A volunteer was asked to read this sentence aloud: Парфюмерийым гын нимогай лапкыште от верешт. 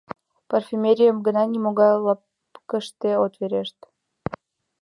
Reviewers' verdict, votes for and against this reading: rejected, 1, 2